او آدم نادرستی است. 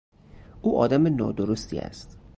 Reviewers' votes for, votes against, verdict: 2, 0, accepted